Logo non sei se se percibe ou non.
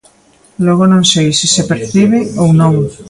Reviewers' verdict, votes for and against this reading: rejected, 1, 2